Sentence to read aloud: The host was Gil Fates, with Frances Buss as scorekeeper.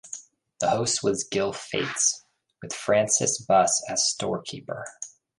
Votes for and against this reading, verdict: 0, 2, rejected